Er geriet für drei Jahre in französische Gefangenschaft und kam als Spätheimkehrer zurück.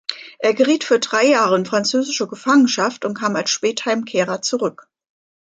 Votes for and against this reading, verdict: 2, 0, accepted